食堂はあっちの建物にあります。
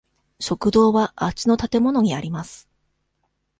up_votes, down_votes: 2, 0